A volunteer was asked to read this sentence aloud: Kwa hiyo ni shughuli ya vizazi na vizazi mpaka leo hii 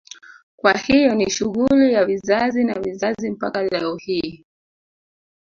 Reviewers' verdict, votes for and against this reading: rejected, 0, 2